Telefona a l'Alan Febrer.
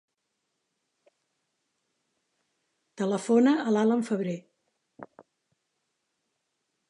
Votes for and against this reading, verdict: 3, 1, accepted